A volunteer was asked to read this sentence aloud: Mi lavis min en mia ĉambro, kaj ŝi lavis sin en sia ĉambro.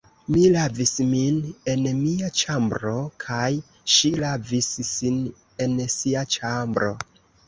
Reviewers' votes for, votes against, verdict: 1, 2, rejected